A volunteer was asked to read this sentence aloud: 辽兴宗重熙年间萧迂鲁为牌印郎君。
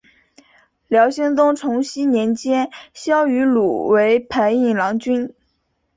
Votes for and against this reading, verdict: 2, 0, accepted